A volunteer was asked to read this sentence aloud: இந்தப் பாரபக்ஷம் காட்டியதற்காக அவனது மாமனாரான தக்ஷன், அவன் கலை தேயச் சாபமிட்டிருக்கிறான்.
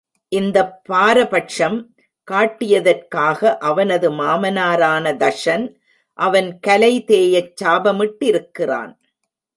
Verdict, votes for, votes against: accepted, 2, 1